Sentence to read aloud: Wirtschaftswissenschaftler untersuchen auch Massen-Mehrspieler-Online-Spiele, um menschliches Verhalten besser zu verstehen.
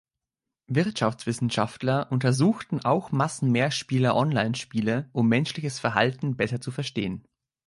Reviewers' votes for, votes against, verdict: 1, 2, rejected